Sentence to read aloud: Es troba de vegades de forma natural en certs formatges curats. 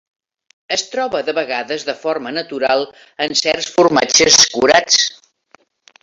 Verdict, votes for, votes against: accepted, 3, 0